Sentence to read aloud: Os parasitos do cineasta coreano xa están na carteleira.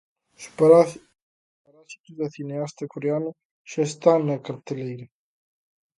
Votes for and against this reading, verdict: 0, 2, rejected